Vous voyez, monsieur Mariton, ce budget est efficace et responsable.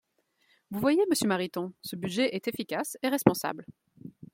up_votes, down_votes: 3, 0